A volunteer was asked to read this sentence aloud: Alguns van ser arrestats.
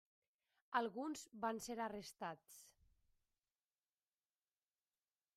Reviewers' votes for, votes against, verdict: 0, 2, rejected